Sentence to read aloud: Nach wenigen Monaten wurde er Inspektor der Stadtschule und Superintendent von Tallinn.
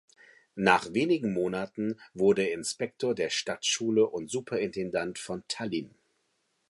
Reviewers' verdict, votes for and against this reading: rejected, 1, 2